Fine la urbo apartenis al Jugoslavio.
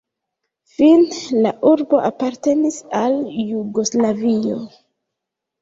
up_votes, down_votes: 1, 2